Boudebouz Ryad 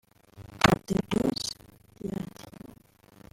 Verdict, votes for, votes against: rejected, 0, 2